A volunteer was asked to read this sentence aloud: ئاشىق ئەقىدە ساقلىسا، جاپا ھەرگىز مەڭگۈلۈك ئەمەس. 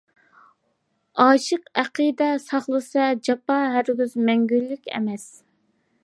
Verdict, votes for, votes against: accepted, 2, 0